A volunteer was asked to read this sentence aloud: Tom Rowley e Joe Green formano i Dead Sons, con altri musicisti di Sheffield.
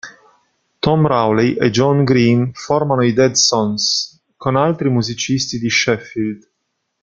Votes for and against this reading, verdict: 2, 0, accepted